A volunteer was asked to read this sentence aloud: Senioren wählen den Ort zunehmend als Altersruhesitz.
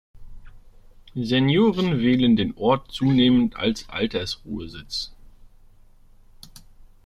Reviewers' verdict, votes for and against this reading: accepted, 2, 0